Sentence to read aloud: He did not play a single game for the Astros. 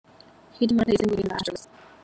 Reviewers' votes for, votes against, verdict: 0, 2, rejected